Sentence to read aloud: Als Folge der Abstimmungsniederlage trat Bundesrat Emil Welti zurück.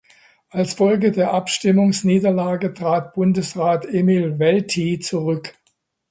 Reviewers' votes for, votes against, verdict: 2, 0, accepted